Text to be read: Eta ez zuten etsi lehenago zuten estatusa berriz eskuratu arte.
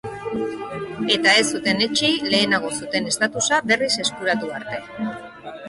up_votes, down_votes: 0, 2